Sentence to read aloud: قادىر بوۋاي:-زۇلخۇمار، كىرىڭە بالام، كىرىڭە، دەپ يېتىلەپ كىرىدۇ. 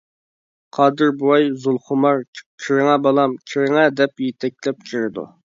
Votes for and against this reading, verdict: 0, 2, rejected